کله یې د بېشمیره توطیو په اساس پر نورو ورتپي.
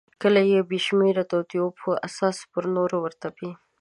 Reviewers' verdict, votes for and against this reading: accepted, 4, 0